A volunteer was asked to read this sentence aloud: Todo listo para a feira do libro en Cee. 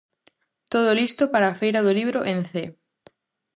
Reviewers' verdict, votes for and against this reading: accepted, 2, 0